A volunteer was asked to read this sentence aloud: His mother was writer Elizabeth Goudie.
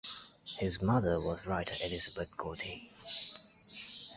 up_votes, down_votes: 2, 0